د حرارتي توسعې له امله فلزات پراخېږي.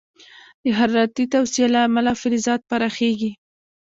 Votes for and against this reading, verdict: 2, 0, accepted